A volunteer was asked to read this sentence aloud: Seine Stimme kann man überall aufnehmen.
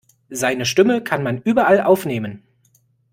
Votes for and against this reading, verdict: 2, 0, accepted